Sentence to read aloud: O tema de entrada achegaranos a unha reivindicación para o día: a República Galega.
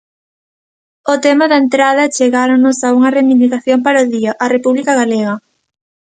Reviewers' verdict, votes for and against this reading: rejected, 0, 2